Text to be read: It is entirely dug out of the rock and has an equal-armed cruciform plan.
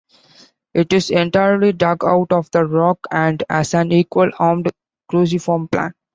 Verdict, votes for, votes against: accepted, 2, 0